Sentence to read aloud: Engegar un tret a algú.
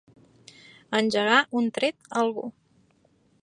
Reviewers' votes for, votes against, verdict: 3, 0, accepted